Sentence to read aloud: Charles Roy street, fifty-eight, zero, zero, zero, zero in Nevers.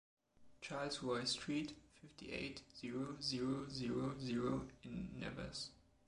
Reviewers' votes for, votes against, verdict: 0, 2, rejected